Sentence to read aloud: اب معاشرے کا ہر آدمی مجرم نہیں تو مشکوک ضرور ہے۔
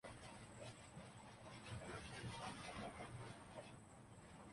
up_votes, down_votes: 0, 2